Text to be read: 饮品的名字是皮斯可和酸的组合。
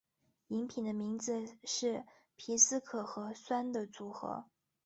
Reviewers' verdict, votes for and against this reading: accepted, 2, 0